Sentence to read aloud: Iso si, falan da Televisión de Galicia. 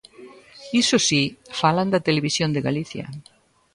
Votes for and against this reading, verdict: 1, 2, rejected